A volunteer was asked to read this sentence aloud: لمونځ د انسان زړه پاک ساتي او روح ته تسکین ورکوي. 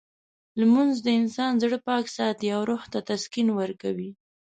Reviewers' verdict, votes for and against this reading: accepted, 2, 0